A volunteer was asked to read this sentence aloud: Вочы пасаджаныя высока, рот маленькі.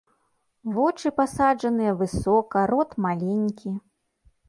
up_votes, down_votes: 2, 0